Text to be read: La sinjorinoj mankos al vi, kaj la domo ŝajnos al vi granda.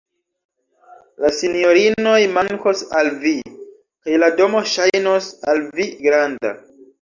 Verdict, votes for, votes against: rejected, 1, 2